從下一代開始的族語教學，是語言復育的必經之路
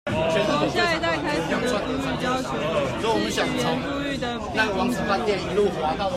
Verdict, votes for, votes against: rejected, 0, 2